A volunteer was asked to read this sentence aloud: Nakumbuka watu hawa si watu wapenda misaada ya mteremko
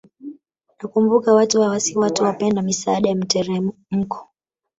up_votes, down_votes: 2, 0